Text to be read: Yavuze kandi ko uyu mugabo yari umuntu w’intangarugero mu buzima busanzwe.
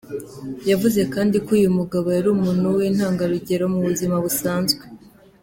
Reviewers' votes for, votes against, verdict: 2, 0, accepted